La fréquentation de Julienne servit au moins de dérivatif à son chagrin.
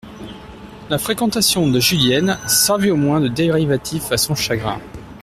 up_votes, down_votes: 0, 2